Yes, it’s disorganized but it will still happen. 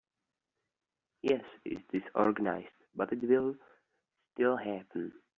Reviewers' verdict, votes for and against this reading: rejected, 1, 2